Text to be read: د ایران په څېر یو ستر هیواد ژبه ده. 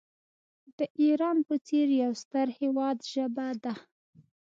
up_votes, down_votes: 2, 0